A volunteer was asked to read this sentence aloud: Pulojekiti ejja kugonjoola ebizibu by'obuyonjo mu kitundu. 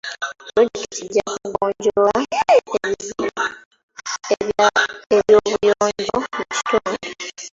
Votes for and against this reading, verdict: 0, 3, rejected